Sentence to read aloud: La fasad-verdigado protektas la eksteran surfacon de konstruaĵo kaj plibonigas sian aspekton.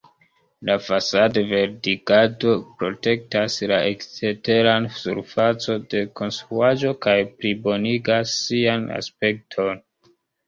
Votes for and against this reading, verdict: 2, 1, accepted